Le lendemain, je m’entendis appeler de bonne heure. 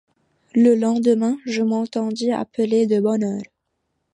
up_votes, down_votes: 2, 0